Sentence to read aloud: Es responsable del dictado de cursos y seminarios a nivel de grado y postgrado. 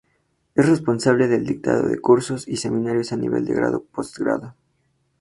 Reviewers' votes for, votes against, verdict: 2, 2, rejected